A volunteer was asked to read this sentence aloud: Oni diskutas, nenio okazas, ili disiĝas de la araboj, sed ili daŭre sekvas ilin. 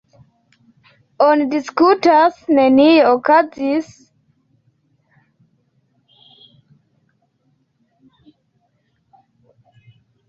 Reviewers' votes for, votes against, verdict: 2, 0, accepted